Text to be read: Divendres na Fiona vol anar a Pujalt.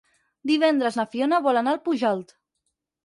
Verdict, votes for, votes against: rejected, 0, 4